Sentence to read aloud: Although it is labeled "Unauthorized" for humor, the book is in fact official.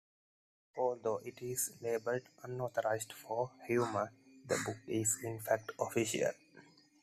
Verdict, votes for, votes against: accepted, 2, 0